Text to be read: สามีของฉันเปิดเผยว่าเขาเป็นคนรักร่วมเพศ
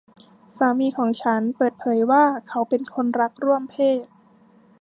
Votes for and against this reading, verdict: 2, 0, accepted